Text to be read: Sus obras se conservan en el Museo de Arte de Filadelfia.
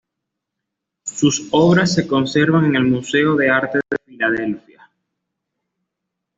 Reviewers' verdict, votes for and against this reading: accepted, 2, 0